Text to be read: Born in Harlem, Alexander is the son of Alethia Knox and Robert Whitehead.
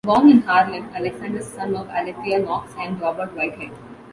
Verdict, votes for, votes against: rejected, 1, 2